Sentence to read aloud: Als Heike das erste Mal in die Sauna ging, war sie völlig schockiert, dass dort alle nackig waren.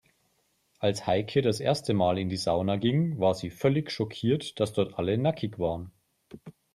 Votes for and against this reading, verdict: 3, 0, accepted